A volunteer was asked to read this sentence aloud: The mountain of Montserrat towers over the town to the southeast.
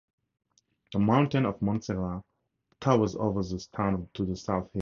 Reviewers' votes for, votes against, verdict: 0, 4, rejected